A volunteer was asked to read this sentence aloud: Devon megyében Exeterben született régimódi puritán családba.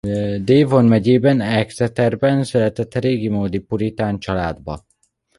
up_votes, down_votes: 0, 2